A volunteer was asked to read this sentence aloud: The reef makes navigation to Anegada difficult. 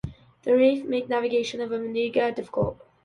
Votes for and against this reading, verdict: 0, 2, rejected